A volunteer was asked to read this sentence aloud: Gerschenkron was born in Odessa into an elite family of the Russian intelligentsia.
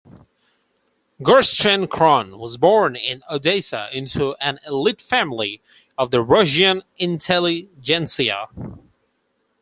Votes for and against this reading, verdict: 4, 0, accepted